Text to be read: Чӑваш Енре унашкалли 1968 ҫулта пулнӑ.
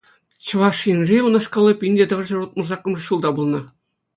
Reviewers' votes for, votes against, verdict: 0, 2, rejected